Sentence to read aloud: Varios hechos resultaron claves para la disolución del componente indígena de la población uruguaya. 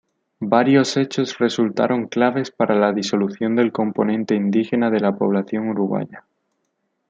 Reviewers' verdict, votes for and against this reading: accepted, 2, 0